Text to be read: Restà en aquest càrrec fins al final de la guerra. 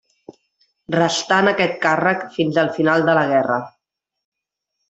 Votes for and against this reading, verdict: 2, 0, accepted